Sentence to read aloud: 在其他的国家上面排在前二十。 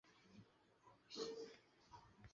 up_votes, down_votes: 6, 0